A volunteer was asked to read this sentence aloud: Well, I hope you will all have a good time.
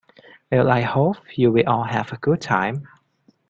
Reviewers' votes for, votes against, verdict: 2, 0, accepted